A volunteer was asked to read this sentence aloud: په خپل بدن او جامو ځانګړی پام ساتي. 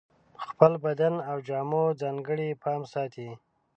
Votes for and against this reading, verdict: 2, 0, accepted